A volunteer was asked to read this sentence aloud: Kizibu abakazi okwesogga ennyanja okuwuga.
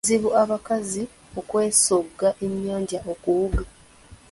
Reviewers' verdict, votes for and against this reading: accepted, 2, 0